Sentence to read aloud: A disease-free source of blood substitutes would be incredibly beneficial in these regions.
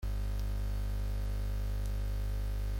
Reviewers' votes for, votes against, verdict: 0, 2, rejected